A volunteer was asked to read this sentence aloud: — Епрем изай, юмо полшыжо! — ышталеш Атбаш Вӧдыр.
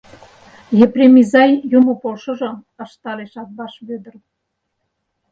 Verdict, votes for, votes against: accepted, 4, 0